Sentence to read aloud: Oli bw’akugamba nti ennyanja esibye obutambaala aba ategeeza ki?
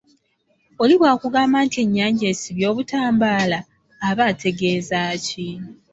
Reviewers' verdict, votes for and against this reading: accepted, 2, 0